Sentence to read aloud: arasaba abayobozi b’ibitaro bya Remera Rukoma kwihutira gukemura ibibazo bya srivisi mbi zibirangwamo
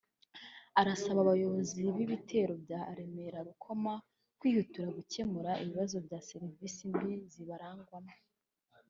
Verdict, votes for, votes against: rejected, 1, 4